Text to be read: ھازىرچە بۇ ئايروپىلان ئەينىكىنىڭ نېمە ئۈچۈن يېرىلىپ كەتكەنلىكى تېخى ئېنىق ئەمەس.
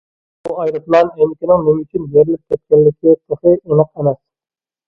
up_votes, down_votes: 0, 2